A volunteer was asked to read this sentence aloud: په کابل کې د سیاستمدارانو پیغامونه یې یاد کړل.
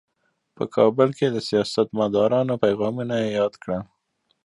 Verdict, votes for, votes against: accepted, 2, 1